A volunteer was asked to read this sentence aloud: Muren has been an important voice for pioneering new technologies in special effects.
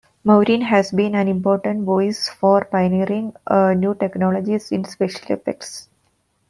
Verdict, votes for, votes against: rejected, 1, 2